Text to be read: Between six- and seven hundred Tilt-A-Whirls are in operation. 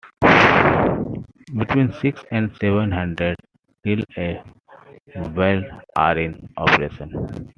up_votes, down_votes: 0, 2